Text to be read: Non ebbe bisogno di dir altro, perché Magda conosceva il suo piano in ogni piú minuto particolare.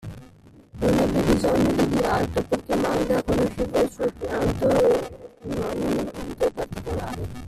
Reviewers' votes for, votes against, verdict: 0, 2, rejected